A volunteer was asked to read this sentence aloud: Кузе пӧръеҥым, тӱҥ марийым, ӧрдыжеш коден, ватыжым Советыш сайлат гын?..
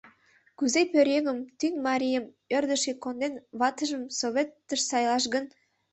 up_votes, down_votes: 0, 2